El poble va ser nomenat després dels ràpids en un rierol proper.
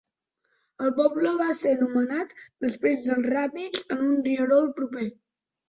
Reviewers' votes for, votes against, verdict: 2, 0, accepted